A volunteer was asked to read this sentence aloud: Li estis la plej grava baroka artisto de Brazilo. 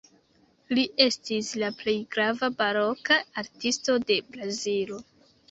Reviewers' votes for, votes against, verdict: 1, 2, rejected